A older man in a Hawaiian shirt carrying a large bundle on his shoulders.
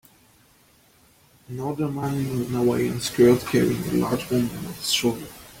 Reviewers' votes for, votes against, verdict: 0, 2, rejected